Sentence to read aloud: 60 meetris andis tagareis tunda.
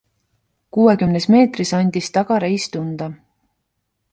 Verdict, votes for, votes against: rejected, 0, 2